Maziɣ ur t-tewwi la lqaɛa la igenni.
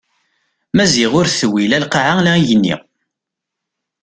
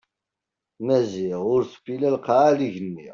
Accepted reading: first